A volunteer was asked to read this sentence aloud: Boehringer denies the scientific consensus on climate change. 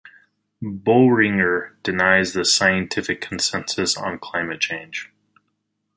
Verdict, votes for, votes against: accepted, 4, 0